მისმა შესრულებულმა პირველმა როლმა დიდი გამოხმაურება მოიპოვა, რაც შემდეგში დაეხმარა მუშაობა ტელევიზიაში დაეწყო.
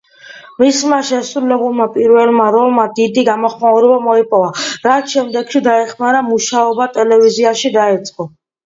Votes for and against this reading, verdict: 2, 0, accepted